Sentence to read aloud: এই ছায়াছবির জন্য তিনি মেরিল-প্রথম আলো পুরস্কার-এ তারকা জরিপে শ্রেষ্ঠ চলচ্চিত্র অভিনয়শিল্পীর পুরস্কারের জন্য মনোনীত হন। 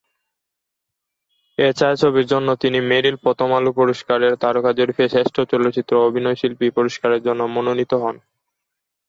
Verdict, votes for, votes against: rejected, 1, 2